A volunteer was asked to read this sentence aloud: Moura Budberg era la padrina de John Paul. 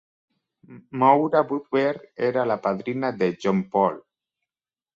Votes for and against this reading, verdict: 2, 1, accepted